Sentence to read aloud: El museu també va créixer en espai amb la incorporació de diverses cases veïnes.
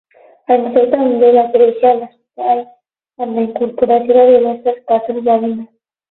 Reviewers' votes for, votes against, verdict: 0, 12, rejected